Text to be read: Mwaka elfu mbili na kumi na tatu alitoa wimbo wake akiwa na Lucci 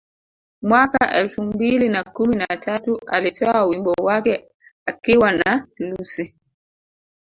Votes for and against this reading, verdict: 1, 2, rejected